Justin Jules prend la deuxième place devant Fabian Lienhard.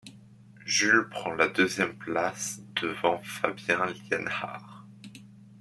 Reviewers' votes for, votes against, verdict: 1, 2, rejected